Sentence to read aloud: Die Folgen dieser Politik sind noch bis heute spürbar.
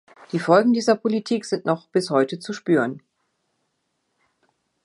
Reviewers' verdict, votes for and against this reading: rejected, 0, 2